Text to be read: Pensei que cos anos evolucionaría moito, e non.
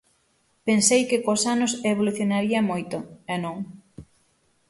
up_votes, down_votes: 6, 0